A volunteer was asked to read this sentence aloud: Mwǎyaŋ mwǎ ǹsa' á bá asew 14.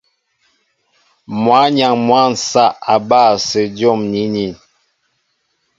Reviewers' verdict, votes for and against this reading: rejected, 0, 2